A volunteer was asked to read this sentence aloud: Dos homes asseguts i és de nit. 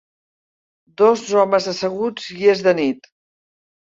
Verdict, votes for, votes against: accepted, 3, 1